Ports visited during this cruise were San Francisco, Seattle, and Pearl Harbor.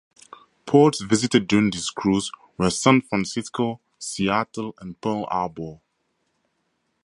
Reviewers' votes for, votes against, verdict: 2, 0, accepted